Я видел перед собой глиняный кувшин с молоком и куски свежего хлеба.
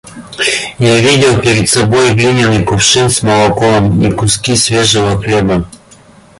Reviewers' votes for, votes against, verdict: 2, 0, accepted